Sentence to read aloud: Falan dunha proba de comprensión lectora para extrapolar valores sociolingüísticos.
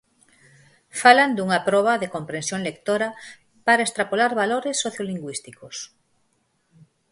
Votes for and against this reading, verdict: 4, 0, accepted